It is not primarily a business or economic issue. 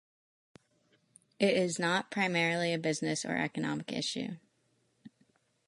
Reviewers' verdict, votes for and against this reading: accepted, 2, 0